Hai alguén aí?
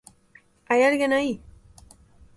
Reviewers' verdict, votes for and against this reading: accepted, 2, 0